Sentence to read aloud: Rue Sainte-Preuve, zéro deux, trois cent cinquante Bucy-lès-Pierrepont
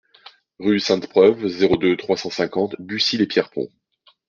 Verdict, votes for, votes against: accepted, 2, 0